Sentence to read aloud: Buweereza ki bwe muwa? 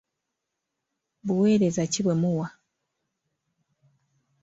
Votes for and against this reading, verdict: 3, 0, accepted